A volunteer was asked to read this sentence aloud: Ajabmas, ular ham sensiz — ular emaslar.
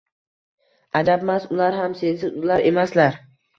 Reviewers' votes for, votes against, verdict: 2, 0, accepted